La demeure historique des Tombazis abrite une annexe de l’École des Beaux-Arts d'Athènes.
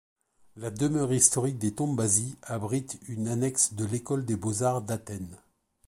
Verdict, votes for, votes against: rejected, 1, 2